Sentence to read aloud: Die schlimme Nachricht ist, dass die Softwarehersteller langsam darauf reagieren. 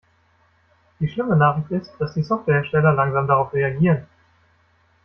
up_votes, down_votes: 2, 0